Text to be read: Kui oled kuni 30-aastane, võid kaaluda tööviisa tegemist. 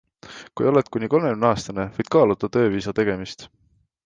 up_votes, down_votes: 0, 2